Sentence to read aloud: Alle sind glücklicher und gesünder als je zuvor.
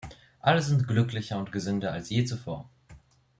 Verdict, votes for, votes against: accepted, 3, 0